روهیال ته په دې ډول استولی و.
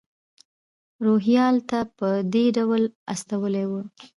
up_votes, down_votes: 2, 0